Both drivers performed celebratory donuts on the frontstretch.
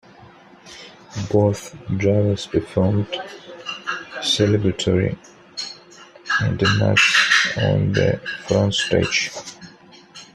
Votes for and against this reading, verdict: 2, 1, accepted